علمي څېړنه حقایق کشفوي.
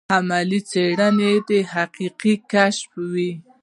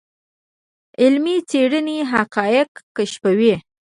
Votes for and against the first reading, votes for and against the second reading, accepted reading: 1, 2, 2, 0, second